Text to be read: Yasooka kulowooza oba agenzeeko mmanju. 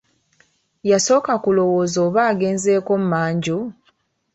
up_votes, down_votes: 1, 2